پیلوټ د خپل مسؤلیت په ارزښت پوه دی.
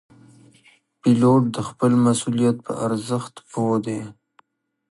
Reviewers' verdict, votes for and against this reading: accepted, 2, 0